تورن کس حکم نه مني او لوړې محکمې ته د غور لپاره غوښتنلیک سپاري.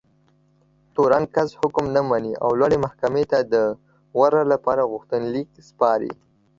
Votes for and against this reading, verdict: 1, 2, rejected